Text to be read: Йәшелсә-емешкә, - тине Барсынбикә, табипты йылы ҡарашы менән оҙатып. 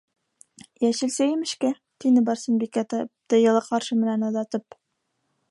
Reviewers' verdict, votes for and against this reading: rejected, 1, 2